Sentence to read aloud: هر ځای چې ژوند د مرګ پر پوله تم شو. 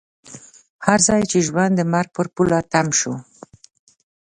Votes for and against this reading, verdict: 2, 0, accepted